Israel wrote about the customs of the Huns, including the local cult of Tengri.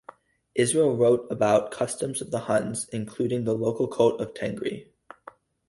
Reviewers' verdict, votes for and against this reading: rejected, 0, 2